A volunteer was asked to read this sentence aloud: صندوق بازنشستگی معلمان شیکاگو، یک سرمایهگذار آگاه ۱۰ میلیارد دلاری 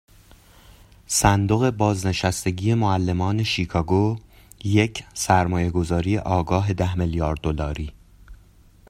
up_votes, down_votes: 0, 2